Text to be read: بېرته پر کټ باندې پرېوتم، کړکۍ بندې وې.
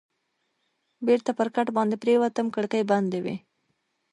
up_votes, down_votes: 1, 2